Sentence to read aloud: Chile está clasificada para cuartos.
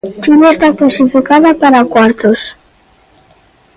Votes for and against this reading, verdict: 2, 0, accepted